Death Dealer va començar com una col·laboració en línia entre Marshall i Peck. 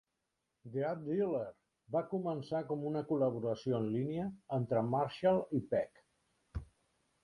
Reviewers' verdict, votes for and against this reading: accepted, 2, 0